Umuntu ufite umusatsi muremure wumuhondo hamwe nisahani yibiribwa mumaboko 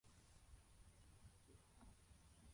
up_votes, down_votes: 0, 2